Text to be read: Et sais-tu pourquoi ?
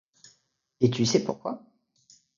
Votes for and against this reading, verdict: 1, 2, rejected